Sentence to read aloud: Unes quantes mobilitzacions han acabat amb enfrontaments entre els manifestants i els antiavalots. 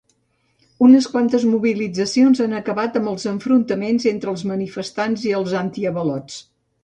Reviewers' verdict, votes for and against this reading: rejected, 0, 2